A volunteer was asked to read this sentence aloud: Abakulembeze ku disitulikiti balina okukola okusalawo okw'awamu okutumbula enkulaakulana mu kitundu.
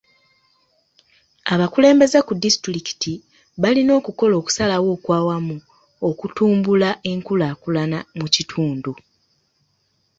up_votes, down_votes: 2, 0